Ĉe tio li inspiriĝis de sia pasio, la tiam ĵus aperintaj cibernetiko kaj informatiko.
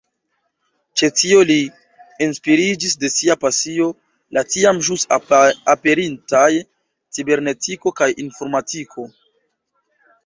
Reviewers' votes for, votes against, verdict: 0, 2, rejected